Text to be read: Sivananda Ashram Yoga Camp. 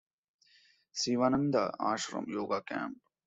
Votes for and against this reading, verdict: 2, 1, accepted